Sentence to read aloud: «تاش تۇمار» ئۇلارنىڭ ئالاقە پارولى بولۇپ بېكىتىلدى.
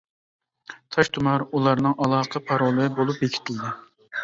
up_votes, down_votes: 2, 0